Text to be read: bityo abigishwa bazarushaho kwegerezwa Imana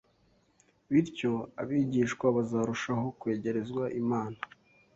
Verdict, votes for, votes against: accepted, 2, 0